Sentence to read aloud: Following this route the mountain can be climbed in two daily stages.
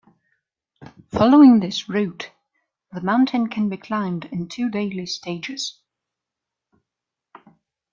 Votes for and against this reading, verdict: 2, 0, accepted